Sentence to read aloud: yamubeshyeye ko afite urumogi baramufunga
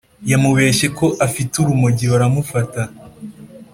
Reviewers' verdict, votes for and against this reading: rejected, 0, 2